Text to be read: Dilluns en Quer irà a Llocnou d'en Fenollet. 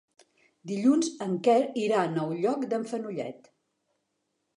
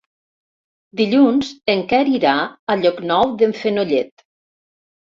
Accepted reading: second